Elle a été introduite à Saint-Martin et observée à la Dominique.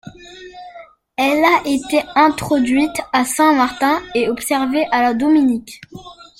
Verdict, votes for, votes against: rejected, 0, 2